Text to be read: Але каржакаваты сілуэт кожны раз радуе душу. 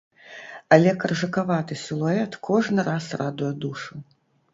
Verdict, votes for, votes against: rejected, 1, 2